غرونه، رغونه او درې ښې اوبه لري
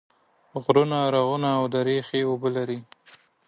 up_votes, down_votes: 2, 0